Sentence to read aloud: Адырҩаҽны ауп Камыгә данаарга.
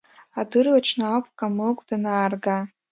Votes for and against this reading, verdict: 2, 1, accepted